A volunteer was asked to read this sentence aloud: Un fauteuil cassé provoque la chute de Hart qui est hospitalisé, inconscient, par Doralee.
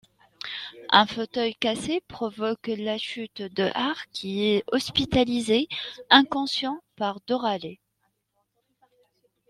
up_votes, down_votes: 2, 0